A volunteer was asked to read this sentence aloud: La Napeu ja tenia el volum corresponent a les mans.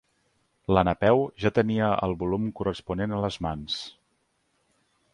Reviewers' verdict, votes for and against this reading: accepted, 2, 0